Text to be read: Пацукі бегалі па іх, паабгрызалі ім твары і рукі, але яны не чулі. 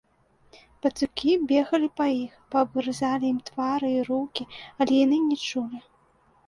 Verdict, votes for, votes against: accepted, 2, 1